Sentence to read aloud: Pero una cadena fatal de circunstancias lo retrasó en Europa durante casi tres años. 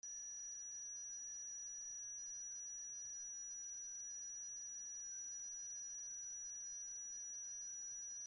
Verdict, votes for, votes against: rejected, 0, 2